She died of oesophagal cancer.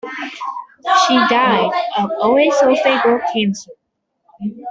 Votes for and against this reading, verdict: 1, 2, rejected